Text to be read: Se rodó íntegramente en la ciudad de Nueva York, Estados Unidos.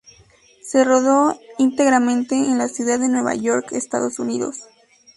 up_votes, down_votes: 0, 2